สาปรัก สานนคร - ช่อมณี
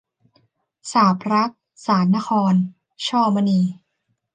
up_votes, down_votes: 2, 0